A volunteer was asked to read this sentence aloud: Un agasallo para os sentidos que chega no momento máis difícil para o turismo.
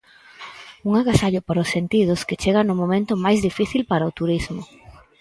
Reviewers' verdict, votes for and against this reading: accepted, 4, 0